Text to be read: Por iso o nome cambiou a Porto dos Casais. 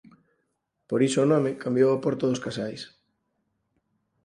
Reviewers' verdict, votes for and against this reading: accepted, 4, 0